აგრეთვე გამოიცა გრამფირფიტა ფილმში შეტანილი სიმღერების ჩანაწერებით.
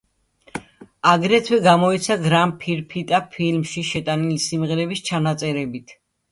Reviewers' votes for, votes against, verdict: 1, 2, rejected